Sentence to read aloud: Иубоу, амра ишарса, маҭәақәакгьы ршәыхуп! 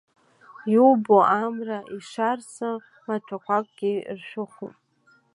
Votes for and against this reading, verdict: 1, 2, rejected